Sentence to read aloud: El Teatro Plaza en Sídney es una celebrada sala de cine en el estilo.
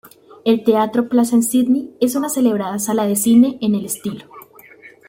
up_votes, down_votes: 2, 0